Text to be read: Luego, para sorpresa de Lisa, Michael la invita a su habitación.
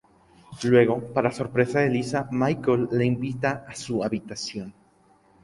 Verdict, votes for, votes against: rejected, 0, 2